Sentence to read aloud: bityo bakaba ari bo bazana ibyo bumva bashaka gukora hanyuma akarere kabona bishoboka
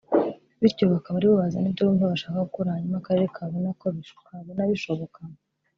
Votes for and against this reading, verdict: 2, 3, rejected